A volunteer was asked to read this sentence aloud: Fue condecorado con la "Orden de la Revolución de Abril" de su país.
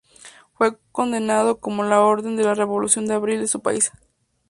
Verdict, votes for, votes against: rejected, 0, 2